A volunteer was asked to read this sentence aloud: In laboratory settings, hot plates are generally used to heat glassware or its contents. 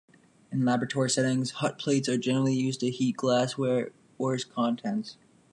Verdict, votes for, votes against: rejected, 1, 2